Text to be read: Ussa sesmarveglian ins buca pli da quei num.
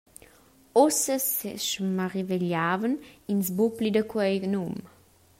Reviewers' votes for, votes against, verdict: 0, 2, rejected